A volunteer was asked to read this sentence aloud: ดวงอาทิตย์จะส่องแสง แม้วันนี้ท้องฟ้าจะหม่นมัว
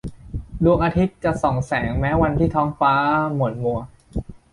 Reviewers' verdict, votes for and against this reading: rejected, 1, 2